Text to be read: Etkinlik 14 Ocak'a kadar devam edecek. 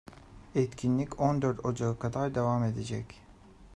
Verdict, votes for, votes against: rejected, 0, 2